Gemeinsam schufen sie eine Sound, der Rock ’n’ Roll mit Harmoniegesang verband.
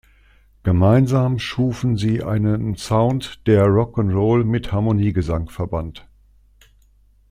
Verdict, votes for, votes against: accepted, 2, 0